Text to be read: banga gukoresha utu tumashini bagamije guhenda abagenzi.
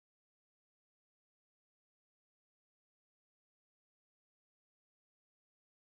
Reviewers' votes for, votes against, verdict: 1, 2, rejected